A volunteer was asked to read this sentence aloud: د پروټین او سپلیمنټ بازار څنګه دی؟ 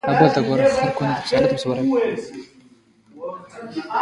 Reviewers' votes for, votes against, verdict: 0, 2, rejected